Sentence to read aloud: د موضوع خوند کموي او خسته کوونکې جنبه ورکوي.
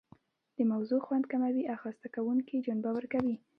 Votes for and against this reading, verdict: 2, 1, accepted